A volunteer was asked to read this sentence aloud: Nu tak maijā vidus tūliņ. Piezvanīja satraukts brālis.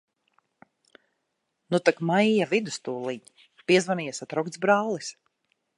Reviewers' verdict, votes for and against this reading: rejected, 1, 2